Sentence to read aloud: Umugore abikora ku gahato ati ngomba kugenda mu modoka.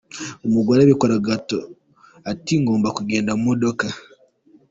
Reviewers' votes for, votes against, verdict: 2, 1, accepted